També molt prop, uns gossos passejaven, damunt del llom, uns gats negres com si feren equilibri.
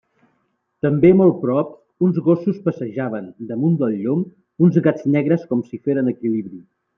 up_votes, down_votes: 3, 0